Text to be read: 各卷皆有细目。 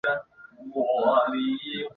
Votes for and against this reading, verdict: 0, 2, rejected